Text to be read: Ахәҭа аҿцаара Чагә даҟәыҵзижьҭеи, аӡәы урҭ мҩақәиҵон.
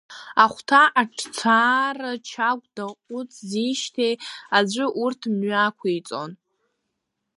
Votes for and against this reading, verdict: 0, 2, rejected